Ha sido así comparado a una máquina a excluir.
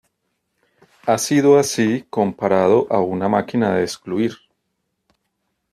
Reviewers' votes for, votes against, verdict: 1, 2, rejected